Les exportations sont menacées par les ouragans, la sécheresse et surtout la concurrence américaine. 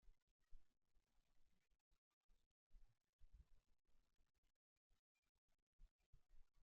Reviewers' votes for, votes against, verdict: 0, 3, rejected